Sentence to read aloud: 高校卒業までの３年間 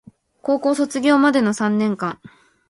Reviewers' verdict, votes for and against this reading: rejected, 0, 2